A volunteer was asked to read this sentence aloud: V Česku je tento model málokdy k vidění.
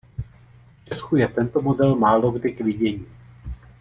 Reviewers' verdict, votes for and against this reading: rejected, 0, 2